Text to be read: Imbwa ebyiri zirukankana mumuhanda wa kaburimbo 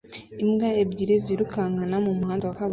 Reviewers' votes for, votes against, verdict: 0, 2, rejected